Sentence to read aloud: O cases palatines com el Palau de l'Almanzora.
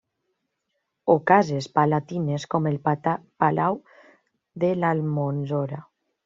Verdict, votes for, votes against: rejected, 0, 2